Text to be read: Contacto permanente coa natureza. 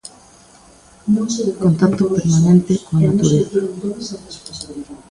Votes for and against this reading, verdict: 0, 3, rejected